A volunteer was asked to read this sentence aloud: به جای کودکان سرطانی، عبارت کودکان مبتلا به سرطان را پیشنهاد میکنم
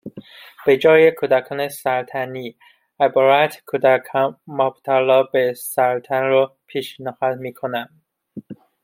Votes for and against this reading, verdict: 0, 2, rejected